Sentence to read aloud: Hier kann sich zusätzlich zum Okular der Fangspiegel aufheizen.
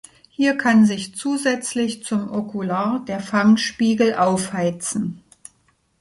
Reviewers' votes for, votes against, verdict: 2, 0, accepted